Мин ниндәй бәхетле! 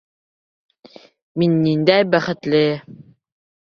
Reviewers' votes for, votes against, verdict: 2, 0, accepted